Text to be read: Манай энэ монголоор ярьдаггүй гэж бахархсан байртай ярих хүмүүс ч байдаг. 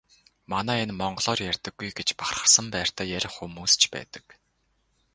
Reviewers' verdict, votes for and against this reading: rejected, 0, 4